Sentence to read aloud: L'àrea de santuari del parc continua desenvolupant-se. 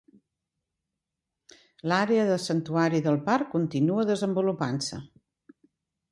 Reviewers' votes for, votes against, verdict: 2, 0, accepted